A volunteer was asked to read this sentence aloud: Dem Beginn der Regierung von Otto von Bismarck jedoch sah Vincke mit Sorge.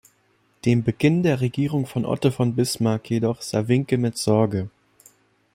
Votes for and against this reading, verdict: 2, 0, accepted